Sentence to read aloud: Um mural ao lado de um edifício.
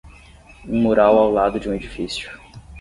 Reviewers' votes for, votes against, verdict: 10, 0, accepted